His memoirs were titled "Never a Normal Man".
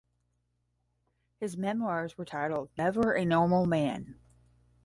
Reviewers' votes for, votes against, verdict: 10, 0, accepted